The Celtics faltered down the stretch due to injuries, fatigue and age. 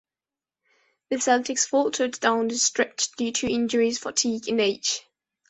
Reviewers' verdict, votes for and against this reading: accepted, 2, 0